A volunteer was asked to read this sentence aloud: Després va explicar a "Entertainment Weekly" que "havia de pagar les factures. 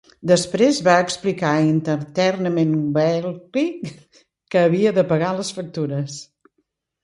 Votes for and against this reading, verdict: 0, 2, rejected